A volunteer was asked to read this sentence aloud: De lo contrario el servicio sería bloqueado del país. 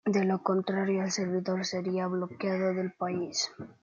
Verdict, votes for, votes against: rejected, 0, 2